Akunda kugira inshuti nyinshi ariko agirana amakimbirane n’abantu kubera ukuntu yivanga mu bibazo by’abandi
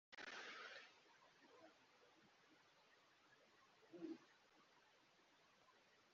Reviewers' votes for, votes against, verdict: 0, 2, rejected